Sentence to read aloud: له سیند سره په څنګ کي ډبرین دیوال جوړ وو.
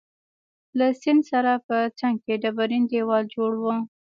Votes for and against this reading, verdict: 2, 1, accepted